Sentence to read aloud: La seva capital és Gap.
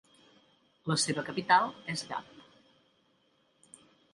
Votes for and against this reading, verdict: 2, 0, accepted